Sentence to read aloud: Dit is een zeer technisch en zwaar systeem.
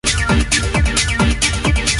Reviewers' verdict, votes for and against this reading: rejected, 0, 2